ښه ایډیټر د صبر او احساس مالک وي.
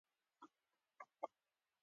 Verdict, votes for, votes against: rejected, 1, 2